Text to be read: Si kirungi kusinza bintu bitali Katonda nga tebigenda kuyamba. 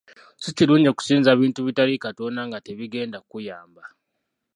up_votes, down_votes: 1, 2